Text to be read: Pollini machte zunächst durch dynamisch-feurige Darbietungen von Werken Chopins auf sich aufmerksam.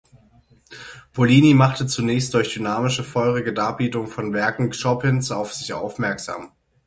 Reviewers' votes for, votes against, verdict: 0, 6, rejected